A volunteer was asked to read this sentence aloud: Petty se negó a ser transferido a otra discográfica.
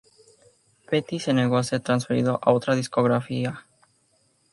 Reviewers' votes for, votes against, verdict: 0, 2, rejected